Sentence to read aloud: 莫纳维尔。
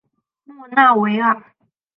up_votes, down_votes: 0, 2